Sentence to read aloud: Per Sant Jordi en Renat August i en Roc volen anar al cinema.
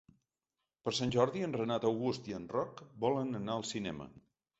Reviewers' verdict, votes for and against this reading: accepted, 2, 0